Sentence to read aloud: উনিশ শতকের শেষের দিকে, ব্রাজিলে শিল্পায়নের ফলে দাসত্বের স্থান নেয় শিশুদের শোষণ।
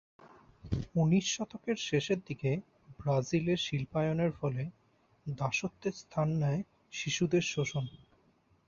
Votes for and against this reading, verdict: 2, 0, accepted